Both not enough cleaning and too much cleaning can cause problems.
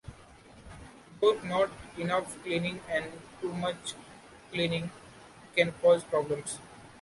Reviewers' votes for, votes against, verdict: 2, 1, accepted